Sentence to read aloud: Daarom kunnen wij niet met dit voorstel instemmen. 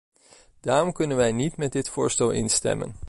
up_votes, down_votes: 2, 0